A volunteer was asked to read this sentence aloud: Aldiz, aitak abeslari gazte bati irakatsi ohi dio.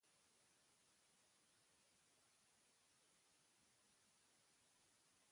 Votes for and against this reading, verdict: 0, 2, rejected